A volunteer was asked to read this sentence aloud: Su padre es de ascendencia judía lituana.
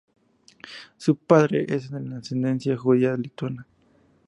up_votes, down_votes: 2, 0